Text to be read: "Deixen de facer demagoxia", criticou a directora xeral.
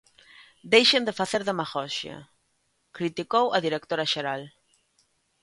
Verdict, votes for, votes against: rejected, 1, 2